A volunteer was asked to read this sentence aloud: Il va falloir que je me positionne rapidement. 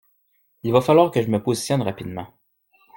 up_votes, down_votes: 1, 2